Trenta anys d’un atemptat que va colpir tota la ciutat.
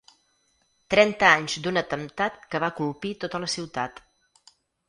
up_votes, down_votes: 6, 0